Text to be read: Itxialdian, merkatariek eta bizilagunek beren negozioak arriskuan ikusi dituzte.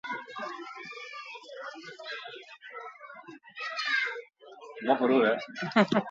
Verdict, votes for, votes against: rejected, 2, 2